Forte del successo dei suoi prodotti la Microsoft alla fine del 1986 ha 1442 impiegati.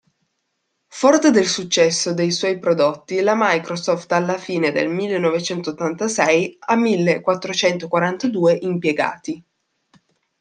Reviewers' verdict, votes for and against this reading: rejected, 0, 2